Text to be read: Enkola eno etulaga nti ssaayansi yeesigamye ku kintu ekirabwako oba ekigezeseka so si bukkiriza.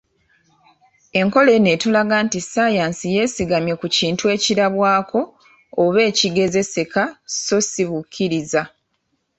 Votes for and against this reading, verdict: 2, 0, accepted